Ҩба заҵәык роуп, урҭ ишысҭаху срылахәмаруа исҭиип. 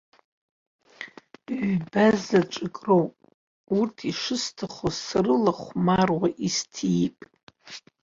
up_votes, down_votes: 1, 2